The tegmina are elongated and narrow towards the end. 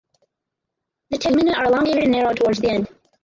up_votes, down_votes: 0, 4